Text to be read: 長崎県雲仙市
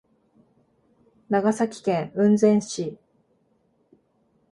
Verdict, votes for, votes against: accepted, 2, 0